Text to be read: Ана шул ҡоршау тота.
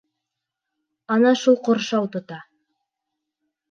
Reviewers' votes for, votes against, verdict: 2, 0, accepted